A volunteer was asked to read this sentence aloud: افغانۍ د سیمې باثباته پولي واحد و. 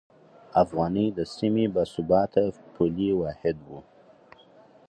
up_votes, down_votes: 6, 0